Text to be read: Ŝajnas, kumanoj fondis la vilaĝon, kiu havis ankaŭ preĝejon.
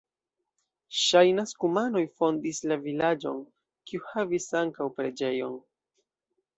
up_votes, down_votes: 2, 0